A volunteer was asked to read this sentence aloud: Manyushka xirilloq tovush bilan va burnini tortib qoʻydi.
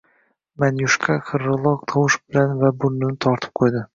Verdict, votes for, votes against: rejected, 0, 2